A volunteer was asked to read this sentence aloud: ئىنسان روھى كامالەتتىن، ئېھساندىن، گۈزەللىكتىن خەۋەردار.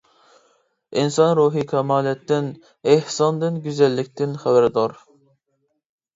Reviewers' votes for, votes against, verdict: 2, 0, accepted